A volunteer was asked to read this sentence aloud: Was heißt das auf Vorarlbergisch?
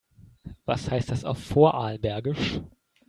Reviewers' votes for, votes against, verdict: 2, 0, accepted